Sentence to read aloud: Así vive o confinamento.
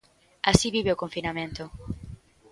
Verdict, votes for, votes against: accepted, 2, 0